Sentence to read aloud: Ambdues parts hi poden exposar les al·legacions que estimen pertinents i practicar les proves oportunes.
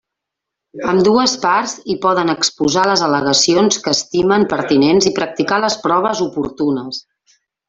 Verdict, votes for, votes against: accepted, 3, 0